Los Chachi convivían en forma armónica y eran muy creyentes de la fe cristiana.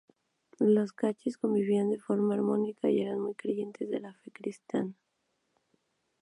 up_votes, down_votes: 0, 2